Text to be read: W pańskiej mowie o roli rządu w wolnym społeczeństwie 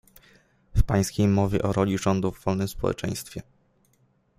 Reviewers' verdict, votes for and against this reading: accepted, 2, 0